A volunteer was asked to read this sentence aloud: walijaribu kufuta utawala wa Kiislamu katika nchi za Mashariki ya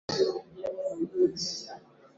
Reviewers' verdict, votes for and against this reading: rejected, 1, 2